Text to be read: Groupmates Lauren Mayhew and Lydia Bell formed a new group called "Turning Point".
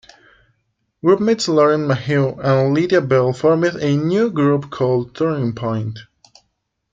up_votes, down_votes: 2, 1